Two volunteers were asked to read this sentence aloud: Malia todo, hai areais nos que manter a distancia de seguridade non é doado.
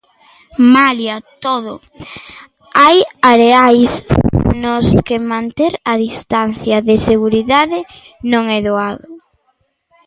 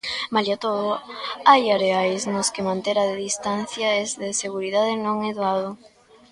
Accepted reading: first